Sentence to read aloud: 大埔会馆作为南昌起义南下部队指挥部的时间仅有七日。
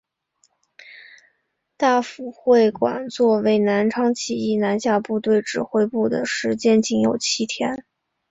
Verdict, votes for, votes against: accepted, 6, 5